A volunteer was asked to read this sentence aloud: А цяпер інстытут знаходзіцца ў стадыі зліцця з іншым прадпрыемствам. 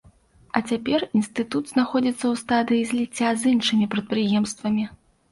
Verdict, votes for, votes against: rejected, 1, 2